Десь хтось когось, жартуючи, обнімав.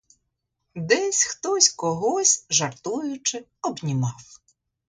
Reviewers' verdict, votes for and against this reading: accepted, 2, 0